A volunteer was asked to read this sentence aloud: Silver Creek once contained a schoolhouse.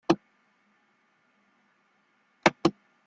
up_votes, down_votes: 0, 2